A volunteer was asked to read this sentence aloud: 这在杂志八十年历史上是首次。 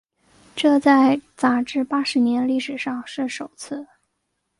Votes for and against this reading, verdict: 2, 0, accepted